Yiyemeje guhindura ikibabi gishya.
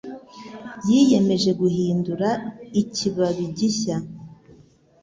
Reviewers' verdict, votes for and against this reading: accepted, 2, 0